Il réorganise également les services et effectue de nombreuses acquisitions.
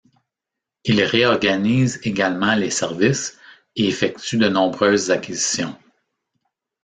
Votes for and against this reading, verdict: 2, 0, accepted